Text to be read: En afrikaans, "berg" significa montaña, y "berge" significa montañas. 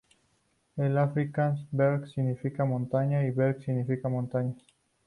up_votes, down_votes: 0, 2